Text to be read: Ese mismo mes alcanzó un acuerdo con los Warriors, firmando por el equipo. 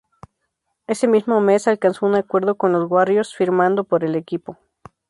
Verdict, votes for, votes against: accepted, 4, 0